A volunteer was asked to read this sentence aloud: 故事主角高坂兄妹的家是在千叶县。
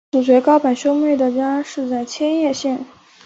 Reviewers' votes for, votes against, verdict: 1, 2, rejected